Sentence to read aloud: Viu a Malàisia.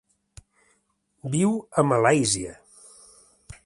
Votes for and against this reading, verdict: 3, 0, accepted